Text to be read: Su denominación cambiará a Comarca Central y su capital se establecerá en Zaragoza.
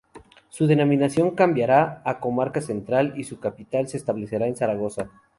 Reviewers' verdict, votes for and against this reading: rejected, 0, 2